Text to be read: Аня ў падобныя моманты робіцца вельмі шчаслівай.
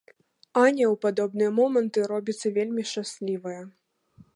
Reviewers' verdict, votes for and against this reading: rejected, 0, 2